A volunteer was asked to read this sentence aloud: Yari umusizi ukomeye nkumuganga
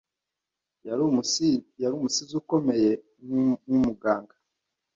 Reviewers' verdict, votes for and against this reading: rejected, 0, 2